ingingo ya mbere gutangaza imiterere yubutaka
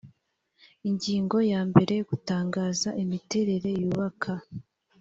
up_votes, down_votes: 1, 2